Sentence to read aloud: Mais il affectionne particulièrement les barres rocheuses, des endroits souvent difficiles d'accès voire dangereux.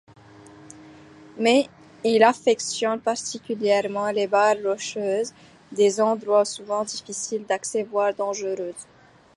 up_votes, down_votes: 1, 2